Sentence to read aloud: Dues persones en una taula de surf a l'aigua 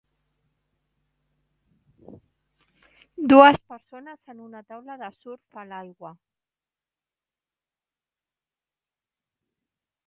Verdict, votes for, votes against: rejected, 0, 2